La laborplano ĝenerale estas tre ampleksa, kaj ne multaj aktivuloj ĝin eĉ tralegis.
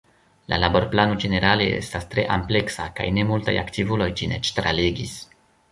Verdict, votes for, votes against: rejected, 1, 2